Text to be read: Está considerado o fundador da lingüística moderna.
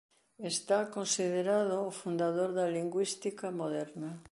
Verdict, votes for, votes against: accepted, 2, 0